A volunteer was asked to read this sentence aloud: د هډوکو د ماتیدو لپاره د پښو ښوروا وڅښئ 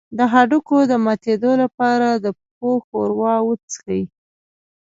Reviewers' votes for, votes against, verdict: 2, 0, accepted